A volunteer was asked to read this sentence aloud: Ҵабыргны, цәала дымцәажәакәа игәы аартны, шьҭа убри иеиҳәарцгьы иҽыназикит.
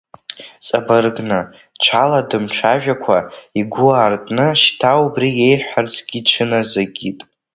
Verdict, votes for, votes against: rejected, 0, 2